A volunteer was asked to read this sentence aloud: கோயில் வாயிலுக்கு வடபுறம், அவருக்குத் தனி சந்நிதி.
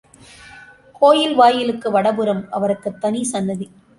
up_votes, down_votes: 2, 1